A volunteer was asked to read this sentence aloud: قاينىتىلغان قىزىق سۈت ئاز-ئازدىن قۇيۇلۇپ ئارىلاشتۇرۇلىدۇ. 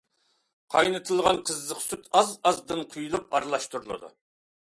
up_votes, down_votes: 2, 0